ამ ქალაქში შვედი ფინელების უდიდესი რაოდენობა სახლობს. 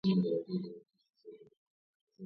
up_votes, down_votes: 0, 2